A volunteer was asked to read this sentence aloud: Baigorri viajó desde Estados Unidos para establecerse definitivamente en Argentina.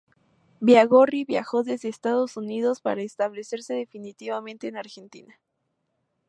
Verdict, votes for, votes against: rejected, 0, 2